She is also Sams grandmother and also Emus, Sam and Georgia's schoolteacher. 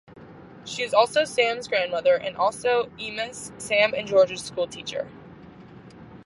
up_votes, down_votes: 2, 0